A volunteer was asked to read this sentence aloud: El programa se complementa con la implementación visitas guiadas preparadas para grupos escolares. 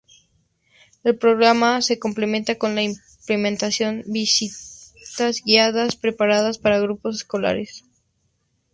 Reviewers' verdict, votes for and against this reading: accepted, 4, 0